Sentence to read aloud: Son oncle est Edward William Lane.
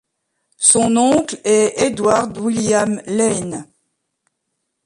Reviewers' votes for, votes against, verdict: 0, 2, rejected